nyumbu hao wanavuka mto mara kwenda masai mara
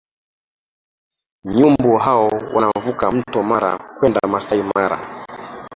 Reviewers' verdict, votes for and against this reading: accepted, 3, 2